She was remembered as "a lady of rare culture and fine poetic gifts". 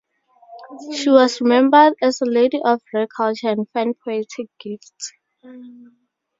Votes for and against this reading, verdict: 2, 0, accepted